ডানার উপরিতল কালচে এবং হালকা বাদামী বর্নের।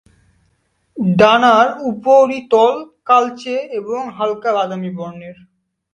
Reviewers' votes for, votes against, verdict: 2, 0, accepted